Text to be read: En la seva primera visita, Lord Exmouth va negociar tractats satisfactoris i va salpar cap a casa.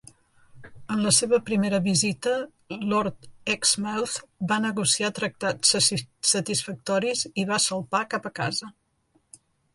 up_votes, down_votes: 0, 2